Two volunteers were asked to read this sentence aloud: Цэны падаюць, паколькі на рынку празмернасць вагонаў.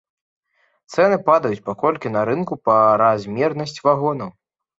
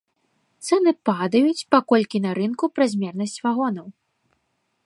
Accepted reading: second